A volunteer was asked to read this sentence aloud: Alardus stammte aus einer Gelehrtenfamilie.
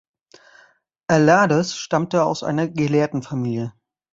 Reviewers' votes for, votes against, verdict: 1, 2, rejected